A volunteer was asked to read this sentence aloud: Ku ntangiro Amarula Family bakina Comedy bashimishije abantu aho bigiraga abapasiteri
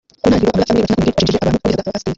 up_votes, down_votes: 0, 2